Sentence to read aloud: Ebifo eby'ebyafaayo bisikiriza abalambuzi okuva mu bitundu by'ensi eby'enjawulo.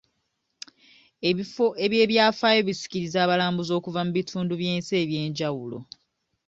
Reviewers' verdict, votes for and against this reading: accepted, 2, 0